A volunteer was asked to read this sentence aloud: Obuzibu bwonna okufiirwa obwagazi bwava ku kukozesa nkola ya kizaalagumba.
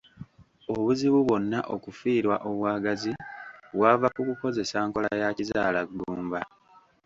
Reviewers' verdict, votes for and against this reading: rejected, 1, 2